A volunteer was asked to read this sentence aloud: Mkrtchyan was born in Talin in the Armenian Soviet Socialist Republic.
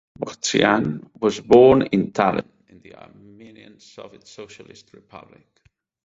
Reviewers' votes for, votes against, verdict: 2, 4, rejected